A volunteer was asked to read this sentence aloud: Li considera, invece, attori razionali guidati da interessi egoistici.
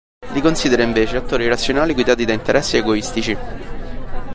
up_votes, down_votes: 2, 3